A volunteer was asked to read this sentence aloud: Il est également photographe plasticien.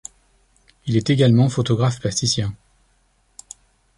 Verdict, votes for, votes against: accepted, 2, 0